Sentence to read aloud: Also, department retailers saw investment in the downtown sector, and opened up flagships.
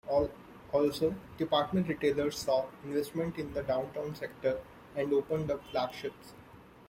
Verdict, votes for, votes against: rejected, 0, 2